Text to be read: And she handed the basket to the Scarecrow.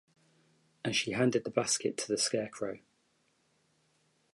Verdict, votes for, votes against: accepted, 2, 1